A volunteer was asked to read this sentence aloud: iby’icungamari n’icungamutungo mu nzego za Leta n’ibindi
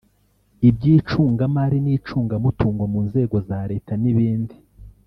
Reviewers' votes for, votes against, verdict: 0, 2, rejected